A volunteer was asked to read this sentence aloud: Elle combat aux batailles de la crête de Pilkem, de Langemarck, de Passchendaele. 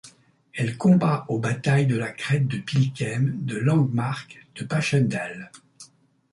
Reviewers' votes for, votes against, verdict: 2, 0, accepted